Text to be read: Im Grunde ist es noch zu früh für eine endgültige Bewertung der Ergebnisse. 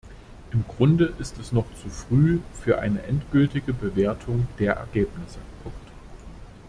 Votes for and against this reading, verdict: 0, 2, rejected